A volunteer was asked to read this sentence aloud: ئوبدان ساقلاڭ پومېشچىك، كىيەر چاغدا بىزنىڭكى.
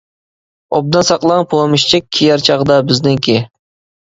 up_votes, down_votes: 1, 2